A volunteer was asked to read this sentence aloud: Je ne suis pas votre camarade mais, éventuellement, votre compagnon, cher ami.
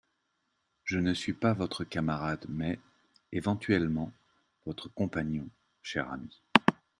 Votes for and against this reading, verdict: 2, 0, accepted